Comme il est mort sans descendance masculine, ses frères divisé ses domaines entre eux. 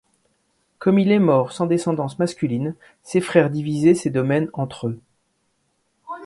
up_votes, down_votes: 2, 0